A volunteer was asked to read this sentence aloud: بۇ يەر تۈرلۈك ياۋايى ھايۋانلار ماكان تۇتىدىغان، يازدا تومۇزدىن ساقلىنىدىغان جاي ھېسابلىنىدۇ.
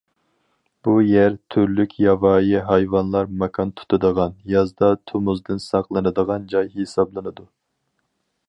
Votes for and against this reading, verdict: 4, 0, accepted